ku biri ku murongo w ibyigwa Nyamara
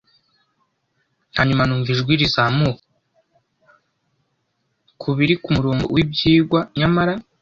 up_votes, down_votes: 1, 2